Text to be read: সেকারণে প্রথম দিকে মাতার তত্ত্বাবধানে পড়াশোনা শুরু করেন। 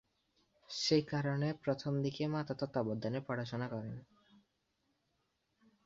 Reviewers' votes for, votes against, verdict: 1, 7, rejected